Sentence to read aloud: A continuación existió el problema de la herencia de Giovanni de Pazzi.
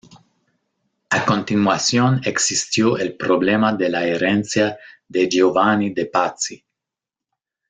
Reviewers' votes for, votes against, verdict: 0, 2, rejected